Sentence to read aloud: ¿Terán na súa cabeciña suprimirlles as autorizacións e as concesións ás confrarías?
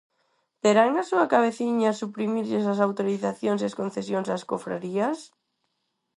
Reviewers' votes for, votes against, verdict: 0, 4, rejected